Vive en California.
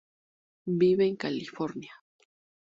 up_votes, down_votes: 2, 0